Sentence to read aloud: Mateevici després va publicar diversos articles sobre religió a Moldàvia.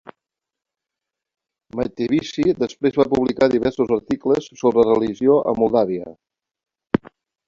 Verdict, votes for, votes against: accepted, 2, 1